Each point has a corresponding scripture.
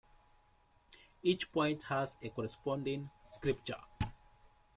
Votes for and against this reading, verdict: 1, 2, rejected